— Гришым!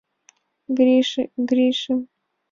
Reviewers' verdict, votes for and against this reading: rejected, 0, 2